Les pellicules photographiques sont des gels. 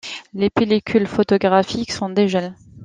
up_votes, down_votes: 2, 0